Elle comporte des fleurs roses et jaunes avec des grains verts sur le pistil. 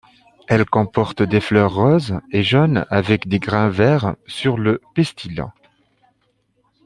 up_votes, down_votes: 2, 1